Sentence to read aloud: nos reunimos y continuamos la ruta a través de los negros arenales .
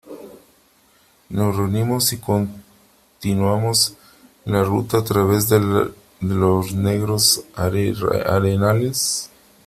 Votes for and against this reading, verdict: 0, 3, rejected